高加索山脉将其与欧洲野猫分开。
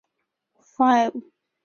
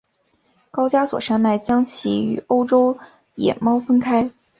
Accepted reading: second